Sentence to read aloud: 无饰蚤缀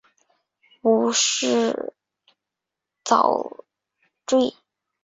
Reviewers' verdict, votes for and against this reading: accepted, 2, 0